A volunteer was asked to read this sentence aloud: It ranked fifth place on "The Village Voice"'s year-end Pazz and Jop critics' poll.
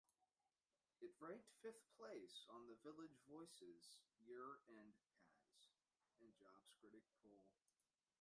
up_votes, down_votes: 0, 2